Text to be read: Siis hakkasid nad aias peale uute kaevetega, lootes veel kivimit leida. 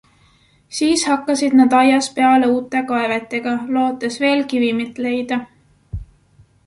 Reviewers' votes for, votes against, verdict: 2, 0, accepted